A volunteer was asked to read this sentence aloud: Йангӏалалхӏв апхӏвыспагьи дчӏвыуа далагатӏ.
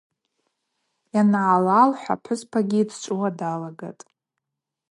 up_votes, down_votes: 4, 0